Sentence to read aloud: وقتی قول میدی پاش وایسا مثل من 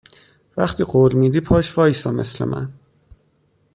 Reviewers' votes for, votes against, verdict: 2, 0, accepted